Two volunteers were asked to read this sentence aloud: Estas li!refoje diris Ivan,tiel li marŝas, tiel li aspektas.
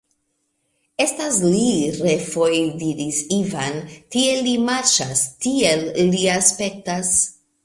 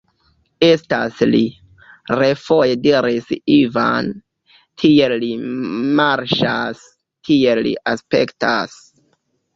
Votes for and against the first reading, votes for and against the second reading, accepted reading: 2, 0, 0, 2, first